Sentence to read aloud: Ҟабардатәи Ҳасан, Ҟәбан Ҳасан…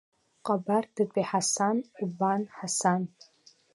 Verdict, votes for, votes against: accepted, 2, 1